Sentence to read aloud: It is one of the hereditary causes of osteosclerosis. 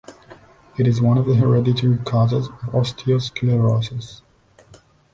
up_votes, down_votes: 2, 0